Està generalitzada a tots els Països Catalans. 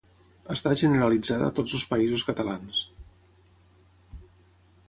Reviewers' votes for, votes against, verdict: 0, 6, rejected